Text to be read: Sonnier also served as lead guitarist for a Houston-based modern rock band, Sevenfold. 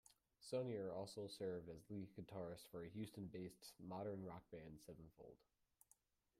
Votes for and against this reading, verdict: 0, 2, rejected